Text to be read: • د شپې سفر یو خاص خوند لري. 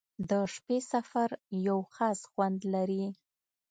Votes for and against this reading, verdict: 2, 0, accepted